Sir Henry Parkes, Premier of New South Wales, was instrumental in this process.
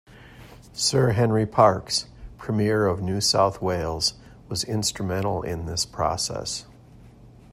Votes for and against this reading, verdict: 2, 0, accepted